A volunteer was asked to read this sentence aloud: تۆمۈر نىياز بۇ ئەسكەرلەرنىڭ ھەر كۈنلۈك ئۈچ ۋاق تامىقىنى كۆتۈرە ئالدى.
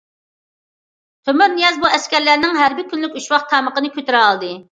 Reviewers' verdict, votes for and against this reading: rejected, 1, 2